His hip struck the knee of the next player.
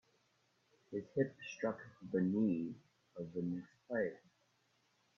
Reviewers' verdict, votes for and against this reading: rejected, 1, 2